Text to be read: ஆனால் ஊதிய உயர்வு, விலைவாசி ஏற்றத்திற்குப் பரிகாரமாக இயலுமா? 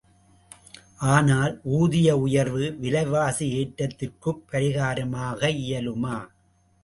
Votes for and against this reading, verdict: 2, 0, accepted